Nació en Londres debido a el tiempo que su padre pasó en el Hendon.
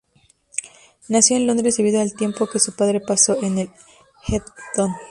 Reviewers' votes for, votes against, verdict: 0, 2, rejected